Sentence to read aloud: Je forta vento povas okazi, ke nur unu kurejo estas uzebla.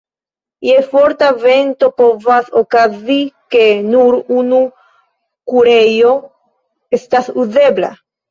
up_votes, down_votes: 2, 1